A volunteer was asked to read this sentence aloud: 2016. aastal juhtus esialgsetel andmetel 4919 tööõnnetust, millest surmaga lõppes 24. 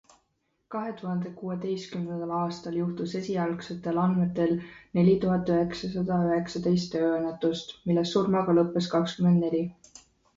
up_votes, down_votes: 0, 2